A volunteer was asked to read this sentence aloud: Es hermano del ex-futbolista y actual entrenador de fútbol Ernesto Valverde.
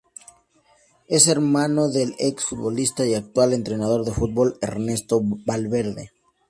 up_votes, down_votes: 0, 2